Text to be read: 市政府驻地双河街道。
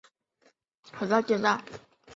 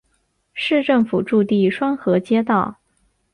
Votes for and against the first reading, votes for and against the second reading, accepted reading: 1, 2, 3, 0, second